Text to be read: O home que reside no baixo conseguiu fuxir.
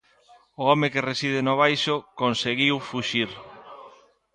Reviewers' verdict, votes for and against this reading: rejected, 1, 2